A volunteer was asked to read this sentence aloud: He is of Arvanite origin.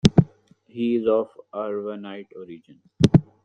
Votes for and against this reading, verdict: 0, 2, rejected